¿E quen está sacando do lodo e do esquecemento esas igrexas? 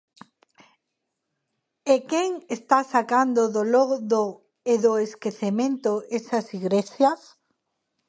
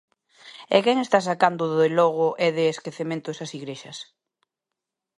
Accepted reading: first